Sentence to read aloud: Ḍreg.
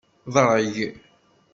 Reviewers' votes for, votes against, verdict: 2, 0, accepted